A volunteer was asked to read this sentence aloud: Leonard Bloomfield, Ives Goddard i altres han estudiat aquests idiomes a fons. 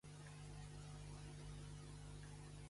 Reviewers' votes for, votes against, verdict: 0, 2, rejected